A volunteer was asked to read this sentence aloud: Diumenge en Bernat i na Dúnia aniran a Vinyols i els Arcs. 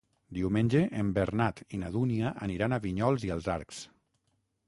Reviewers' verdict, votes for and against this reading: accepted, 6, 0